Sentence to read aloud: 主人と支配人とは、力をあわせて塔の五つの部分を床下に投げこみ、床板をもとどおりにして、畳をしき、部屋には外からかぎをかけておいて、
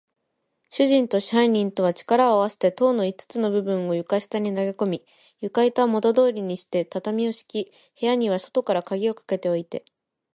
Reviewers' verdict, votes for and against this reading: accepted, 2, 0